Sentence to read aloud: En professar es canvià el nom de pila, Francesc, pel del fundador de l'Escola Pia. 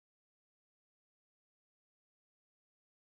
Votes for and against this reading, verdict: 0, 2, rejected